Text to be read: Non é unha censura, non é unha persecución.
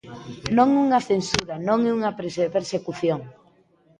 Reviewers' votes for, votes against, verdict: 0, 2, rejected